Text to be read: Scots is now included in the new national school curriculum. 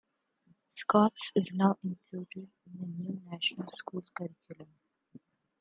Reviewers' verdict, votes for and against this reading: rejected, 0, 2